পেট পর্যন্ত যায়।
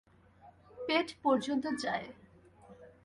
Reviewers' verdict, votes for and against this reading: accepted, 2, 0